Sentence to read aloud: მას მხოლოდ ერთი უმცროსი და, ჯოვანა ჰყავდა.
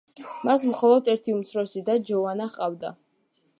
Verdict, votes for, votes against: accepted, 2, 0